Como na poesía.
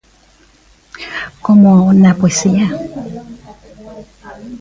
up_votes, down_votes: 1, 2